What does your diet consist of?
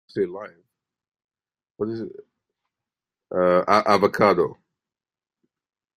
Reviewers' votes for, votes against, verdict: 0, 2, rejected